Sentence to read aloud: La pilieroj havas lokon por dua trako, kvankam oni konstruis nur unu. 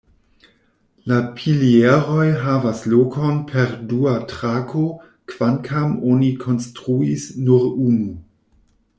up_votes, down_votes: 0, 2